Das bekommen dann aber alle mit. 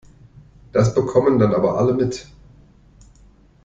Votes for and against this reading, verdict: 2, 0, accepted